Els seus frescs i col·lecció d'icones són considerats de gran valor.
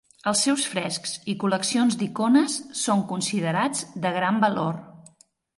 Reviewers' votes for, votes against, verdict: 0, 2, rejected